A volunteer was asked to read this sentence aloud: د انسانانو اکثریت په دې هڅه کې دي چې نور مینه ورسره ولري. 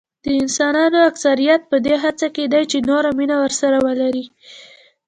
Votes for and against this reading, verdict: 1, 2, rejected